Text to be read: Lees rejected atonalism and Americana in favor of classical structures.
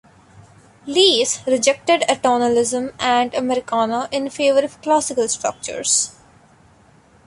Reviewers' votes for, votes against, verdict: 2, 1, accepted